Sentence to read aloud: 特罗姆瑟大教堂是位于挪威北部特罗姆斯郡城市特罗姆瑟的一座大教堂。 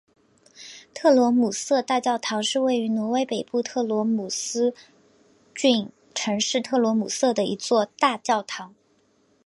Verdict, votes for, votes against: accepted, 2, 0